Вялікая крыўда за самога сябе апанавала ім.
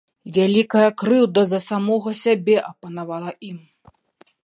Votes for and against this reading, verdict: 2, 0, accepted